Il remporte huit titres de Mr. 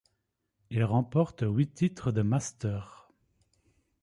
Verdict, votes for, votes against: rejected, 1, 2